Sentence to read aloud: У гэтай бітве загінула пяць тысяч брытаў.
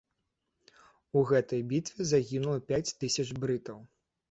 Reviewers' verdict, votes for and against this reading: accepted, 2, 0